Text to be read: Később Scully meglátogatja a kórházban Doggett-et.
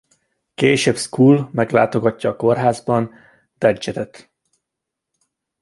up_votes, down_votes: 1, 2